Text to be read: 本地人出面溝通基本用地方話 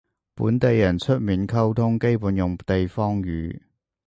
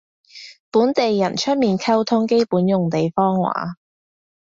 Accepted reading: second